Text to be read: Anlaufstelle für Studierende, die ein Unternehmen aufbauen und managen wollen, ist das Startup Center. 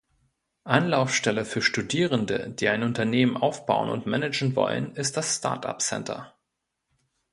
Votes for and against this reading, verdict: 2, 0, accepted